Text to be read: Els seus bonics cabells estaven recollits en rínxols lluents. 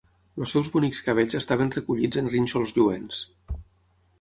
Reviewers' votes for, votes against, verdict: 6, 0, accepted